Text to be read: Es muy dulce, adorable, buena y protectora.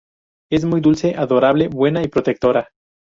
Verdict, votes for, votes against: accepted, 2, 0